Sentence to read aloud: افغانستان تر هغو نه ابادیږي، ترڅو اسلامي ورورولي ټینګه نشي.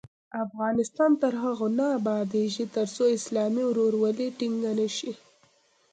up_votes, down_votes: 2, 0